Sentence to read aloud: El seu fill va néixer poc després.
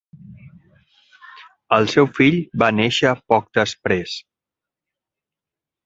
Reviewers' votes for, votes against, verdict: 7, 0, accepted